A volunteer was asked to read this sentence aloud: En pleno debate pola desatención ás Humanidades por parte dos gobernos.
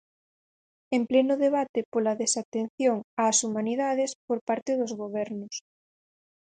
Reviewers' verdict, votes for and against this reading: accepted, 4, 0